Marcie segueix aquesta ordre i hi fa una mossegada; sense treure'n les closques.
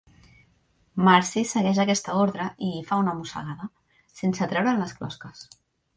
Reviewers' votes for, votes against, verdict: 3, 1, accepted